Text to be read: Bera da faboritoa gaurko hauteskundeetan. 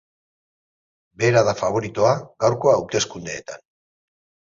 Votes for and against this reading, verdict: 0, 2, rejected